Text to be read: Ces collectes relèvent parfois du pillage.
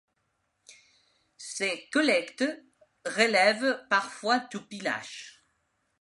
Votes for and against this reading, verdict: 1, 2, rejected